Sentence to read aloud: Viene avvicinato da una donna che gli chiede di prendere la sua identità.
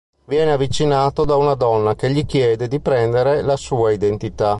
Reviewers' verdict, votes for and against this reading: accepted, 2, 0